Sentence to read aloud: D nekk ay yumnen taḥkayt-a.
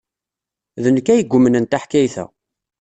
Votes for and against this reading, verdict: 2, 0, accepted